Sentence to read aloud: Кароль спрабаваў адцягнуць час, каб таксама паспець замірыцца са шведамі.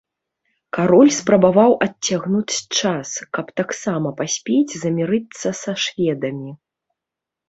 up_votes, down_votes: 2, 0